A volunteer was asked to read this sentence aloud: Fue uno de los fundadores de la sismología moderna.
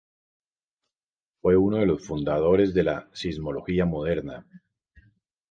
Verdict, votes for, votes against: accepted, 2, 0